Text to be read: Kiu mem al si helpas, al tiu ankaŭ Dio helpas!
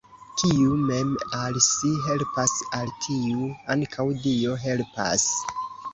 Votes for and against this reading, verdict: 2, 0, accepted